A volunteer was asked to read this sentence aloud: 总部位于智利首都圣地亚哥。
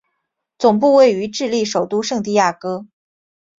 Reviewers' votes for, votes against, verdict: 2, 0, accepted